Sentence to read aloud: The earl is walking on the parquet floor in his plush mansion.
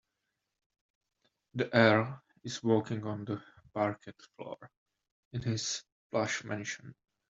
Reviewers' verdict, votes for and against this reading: rejected, 0, 2